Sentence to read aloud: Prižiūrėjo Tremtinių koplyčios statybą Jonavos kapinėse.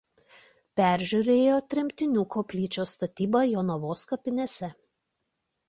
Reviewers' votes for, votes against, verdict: 0, 2, rejected